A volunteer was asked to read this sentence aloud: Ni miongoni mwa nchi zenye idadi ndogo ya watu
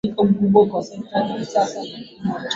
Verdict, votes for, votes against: rejected, 0, 2